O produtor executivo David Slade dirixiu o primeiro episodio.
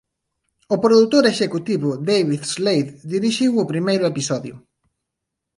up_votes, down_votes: 2, 0